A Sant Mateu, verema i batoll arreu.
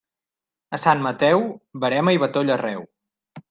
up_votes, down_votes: 2, 0